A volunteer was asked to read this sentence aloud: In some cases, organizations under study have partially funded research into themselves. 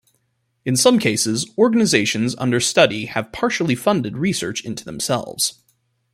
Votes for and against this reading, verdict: 2, 0, accepted